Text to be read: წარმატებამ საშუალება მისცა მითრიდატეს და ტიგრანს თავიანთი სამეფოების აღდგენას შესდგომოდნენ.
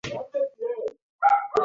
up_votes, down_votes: 0, 2